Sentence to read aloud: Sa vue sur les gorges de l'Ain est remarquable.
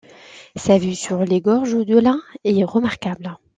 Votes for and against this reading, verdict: 2, 0, accepted